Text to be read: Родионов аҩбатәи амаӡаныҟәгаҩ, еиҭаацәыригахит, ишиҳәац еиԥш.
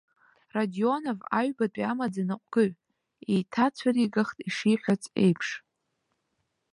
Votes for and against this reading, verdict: 0, 2, rejected